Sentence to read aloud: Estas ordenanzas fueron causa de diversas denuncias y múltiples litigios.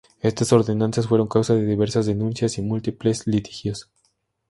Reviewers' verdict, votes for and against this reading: accepted, 2, 0